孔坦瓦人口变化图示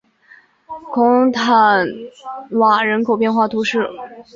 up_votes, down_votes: 1, 2